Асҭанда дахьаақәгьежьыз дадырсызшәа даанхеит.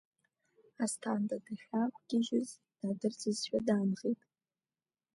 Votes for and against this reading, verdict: 2, 0, accepted